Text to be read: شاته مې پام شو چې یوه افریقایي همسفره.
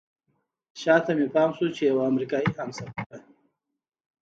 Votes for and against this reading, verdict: 1, 2, rejected